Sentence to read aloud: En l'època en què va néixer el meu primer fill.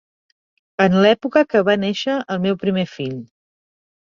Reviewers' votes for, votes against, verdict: 1, 3, rejected